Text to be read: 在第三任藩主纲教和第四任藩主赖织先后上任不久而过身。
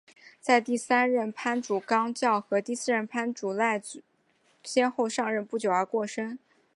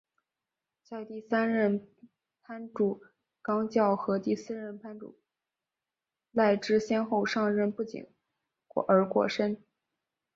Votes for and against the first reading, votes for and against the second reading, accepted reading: 2, 0, 1, 3, first